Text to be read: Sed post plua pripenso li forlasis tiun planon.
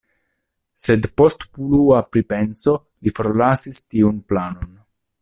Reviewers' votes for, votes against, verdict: 2, 0, accepted